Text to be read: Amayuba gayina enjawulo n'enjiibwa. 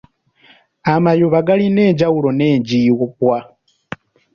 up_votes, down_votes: 3, 0